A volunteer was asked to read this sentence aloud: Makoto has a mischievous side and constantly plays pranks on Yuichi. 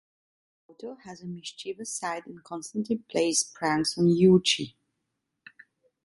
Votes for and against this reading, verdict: 0, 2, rejected